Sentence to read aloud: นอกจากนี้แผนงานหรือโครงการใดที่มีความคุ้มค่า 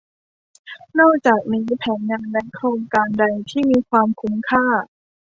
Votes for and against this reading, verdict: 2, 1, accepted